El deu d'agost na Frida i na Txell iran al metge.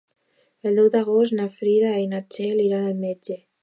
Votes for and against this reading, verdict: 2, 1, accepted